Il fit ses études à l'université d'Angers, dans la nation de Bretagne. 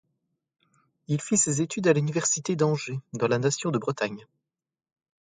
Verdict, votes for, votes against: accepted, 4, 0